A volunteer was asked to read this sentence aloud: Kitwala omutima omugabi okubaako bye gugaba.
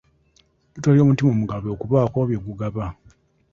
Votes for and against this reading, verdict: 0, 2, rejected